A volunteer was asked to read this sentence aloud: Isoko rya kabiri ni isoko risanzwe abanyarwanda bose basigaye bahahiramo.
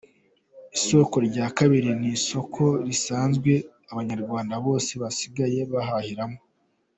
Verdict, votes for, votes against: accepted, 2, 0